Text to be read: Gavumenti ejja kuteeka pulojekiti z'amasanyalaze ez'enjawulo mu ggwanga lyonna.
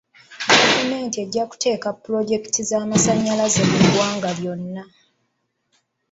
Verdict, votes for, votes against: rejected, 0, 2